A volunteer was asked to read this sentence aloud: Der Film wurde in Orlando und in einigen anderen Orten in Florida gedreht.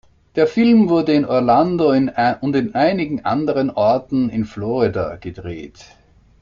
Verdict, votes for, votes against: rejected, 1, 2